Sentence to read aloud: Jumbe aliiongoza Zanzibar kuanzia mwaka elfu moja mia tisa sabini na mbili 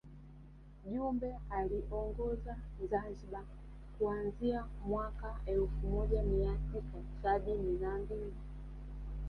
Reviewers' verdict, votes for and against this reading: rejected, 1, 2